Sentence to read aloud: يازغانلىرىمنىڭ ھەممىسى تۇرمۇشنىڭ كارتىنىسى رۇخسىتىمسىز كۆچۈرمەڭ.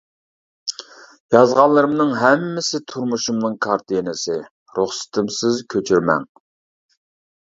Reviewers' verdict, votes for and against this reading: rejected, 0, 2